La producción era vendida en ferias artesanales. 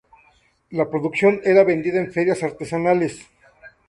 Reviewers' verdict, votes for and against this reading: accepted, 2, 0